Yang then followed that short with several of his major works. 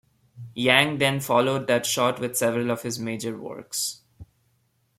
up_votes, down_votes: 2, 0